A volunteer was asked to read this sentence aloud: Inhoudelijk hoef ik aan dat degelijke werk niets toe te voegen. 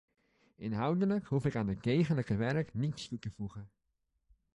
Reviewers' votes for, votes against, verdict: 2, 0, accepted